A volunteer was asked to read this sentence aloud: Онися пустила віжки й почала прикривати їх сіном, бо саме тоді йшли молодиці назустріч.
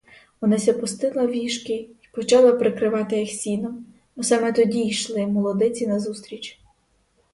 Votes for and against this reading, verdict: 2, 2, rejected